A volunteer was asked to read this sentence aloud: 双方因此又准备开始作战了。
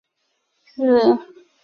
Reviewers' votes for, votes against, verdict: 0, 2, rejected